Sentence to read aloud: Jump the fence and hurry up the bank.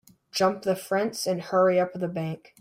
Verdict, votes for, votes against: rejected, 1, 2